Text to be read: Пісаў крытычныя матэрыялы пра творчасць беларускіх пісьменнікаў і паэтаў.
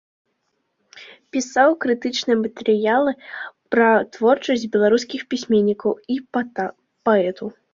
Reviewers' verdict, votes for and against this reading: rejected, 0, 2